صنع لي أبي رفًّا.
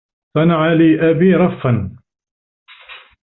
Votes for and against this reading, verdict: 2, 0, accepted